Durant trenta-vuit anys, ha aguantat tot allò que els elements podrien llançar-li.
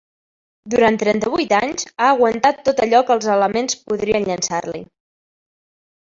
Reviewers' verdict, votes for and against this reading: rejected, 1, 2